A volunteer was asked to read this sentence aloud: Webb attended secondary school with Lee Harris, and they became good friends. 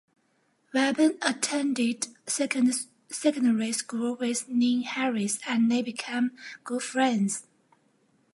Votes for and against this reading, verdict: 0, 2, rejected